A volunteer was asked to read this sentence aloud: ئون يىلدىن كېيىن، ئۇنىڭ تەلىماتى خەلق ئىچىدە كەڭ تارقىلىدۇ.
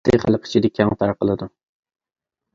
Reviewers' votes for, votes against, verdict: 0, 2, rejected